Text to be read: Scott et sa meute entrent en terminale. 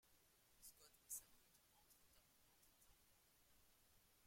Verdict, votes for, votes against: rejected, 0, 2